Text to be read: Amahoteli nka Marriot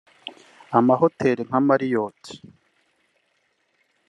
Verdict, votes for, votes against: accepted, 2, 0